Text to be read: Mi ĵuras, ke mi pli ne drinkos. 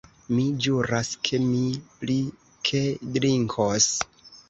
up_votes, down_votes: 1, 2